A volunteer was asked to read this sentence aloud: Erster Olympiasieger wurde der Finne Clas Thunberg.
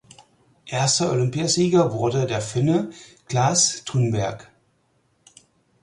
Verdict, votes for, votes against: accepted, 4, 0